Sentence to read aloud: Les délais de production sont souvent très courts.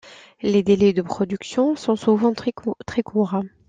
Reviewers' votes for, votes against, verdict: 0, 2, rejected